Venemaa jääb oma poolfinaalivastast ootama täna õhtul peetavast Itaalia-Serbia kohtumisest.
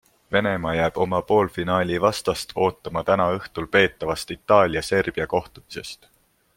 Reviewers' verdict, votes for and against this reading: accepted, 2, 0